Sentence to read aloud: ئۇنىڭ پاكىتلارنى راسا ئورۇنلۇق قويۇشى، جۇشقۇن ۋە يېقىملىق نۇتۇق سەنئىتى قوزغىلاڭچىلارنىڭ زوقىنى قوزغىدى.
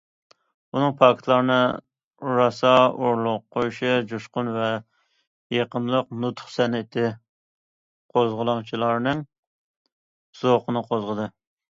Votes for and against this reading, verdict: 2, 0, accepted